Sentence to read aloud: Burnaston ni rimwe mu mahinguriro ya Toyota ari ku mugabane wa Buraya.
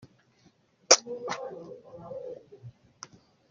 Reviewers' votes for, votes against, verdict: 0, 2, rejected